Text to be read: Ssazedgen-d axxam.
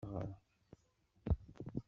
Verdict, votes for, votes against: rejected, 1, 2